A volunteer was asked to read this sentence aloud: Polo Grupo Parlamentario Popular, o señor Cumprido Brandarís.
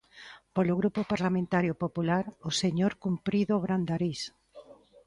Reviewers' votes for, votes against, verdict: 1, 2, rejected